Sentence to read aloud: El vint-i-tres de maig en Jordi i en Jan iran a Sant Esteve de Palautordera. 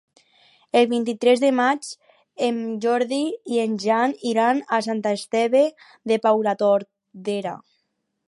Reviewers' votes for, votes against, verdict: 0, 4, rejected